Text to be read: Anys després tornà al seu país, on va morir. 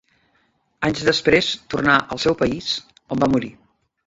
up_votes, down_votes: 2, 1